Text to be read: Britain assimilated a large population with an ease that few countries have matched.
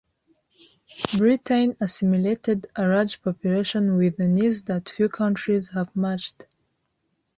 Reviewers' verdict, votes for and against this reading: rejected, 1, 2